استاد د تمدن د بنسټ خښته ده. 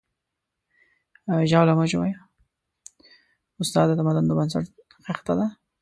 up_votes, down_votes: 0, 2